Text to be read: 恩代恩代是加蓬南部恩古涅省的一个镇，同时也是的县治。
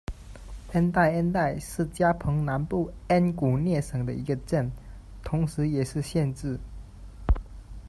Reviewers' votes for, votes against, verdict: 1, 2, rejected